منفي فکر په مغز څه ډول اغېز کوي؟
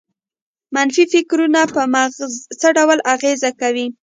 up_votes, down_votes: 0, 2